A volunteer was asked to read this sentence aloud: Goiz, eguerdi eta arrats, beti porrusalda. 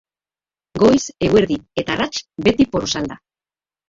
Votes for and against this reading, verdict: 1, 2, rejected